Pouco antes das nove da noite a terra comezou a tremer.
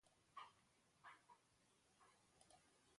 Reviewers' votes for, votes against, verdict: 0, 2, rejected